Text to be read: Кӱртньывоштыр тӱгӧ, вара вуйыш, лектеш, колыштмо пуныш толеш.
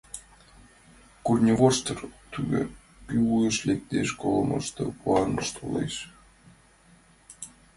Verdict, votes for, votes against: rejected, 0, 2